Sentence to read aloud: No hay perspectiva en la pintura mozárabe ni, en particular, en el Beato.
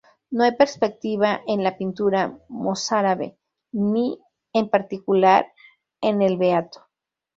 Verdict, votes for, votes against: rejected, 0, 2